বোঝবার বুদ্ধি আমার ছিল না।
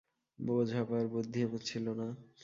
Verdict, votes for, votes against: accepted, 2, 0